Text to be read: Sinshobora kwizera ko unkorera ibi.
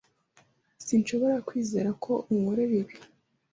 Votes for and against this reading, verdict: 2, 0, accepted